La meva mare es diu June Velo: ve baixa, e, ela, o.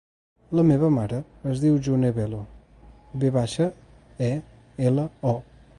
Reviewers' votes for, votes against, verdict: 2, 0, accepted